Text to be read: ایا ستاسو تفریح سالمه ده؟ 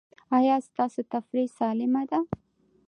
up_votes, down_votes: 2, 0